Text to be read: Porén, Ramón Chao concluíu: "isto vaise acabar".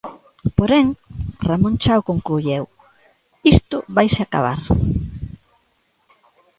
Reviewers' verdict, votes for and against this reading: rejected, 0, 2